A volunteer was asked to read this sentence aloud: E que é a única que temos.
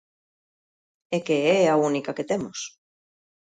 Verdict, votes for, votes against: accepted, 2, 0